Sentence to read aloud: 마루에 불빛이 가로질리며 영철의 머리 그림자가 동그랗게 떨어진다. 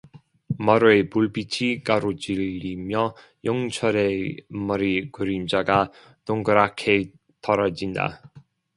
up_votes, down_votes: 0, 2